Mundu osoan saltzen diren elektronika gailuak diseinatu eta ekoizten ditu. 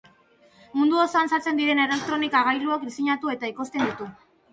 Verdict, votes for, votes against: rejected, 0, 2